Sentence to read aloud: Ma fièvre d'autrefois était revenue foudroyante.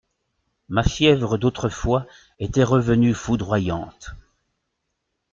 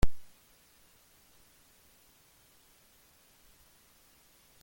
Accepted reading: first